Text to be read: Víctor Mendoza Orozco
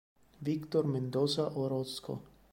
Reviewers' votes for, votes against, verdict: 3, 0, accepted